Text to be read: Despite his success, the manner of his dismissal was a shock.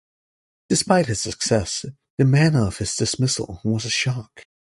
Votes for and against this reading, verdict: 2, 0, accepted